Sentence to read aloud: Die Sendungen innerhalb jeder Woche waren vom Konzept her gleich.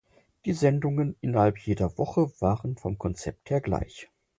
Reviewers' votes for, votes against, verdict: 4, 0, accepted